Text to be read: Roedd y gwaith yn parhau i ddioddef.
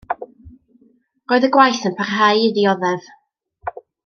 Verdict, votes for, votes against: accepted, 2, 0